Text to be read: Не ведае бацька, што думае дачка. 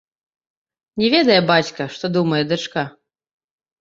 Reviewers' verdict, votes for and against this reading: rejected, 0, 2